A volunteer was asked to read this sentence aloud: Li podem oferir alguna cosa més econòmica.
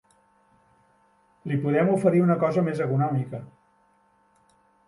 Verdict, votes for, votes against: rejected, 0, 2